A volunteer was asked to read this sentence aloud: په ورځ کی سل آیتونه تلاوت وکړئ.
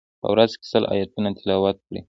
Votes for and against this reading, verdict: 1, 2, rejected